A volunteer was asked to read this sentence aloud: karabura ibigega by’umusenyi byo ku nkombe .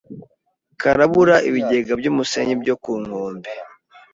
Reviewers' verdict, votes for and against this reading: accepted, 2, 0